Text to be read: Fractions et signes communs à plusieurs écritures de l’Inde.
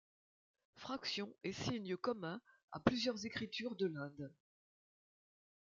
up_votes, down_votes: 2, 0